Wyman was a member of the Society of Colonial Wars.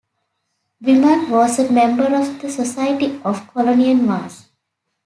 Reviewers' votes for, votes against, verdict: 1, 2, rejected